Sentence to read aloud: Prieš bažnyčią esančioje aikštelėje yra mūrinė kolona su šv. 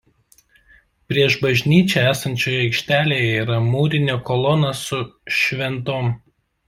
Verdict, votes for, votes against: rejected, 0, 2